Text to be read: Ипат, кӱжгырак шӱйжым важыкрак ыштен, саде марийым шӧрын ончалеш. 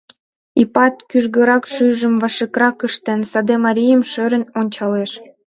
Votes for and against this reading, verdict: 2, 0, accepted